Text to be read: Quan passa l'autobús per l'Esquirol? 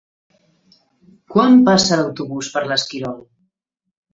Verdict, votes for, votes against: rejected, 0, 2